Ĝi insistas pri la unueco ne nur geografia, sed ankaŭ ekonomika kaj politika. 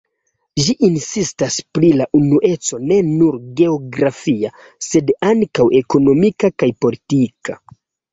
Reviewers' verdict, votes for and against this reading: accepted, 2, 0